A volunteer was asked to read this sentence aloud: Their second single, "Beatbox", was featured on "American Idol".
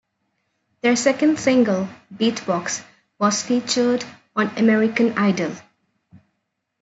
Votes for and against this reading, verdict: 2, 0, accepted